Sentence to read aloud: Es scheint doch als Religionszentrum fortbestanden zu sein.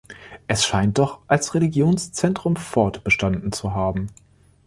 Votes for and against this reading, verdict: 0, 2, rejected